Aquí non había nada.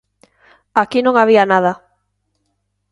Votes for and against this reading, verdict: 2, 0, accepted